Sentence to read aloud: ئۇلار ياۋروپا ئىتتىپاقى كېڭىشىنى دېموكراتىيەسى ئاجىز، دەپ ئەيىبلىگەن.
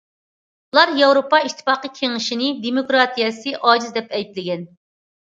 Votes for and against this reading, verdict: 2, 0, accepted